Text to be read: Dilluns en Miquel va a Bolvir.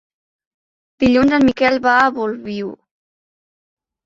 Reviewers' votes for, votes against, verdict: 0, 3, rejected